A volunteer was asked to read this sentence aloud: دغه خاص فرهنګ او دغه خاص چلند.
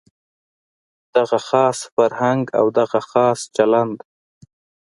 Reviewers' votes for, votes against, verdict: 2, 0, accepted